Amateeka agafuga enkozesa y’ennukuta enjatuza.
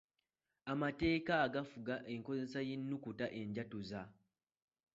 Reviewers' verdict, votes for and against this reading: accepted, 2, 0